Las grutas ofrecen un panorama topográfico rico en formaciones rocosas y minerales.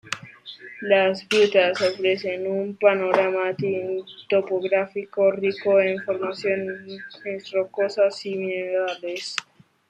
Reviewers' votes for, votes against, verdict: 0, 2, rejected